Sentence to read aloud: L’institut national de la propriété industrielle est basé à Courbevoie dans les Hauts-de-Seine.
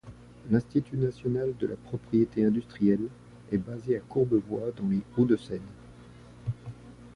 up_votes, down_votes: 2, 0